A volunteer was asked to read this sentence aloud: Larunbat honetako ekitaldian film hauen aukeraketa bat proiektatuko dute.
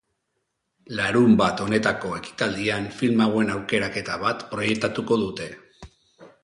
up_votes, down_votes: 2, 0